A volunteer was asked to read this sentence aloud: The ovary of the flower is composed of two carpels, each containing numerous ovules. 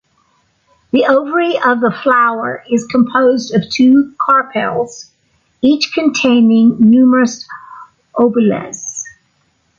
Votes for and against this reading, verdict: 0, 2, rejected